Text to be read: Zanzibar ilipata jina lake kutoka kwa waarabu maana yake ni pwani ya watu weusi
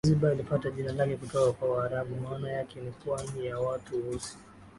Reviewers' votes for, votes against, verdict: 0, 3, rejected